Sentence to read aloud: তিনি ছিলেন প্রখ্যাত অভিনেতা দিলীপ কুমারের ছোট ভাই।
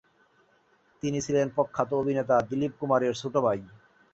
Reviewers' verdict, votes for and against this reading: accepted, 3, 0